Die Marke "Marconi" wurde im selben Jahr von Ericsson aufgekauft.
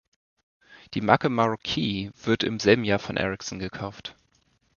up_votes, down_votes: 0, 2